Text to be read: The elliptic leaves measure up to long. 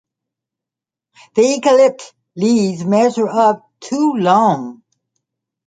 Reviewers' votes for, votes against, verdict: 1, 2, rejected